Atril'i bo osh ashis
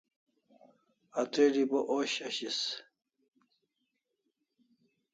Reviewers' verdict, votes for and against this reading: accepted, 2, 0